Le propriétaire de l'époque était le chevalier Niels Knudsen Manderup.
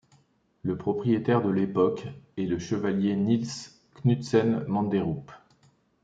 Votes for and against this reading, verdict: 0, 2, rejected